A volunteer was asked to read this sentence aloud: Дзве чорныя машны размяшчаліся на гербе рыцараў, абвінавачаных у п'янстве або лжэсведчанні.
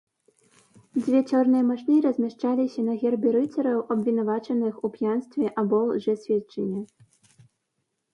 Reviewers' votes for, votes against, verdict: 2, 0, accepted